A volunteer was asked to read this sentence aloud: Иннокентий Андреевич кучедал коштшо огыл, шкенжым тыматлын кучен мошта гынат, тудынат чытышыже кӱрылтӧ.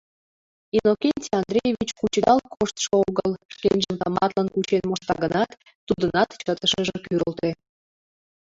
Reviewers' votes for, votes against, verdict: 1, 2, rejected